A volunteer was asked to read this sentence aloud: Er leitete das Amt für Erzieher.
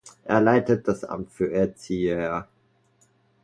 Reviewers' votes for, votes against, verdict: 1, 2, rejected